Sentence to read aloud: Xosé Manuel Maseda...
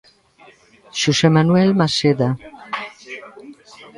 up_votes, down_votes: 1, 2